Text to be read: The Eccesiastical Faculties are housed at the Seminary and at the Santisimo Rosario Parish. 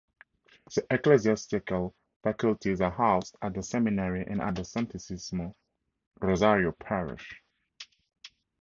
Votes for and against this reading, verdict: 4, 2, accepted